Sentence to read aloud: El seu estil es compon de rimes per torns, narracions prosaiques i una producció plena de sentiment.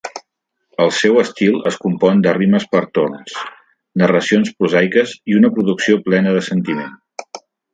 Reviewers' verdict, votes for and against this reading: rejected, 1, 2